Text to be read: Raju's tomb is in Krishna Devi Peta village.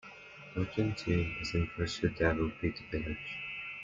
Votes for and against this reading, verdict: 0, 2, rejected